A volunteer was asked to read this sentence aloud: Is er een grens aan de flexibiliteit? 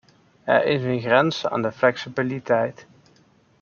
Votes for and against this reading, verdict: 1, 2, rejected